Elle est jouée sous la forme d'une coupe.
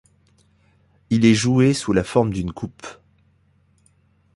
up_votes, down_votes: 1, 2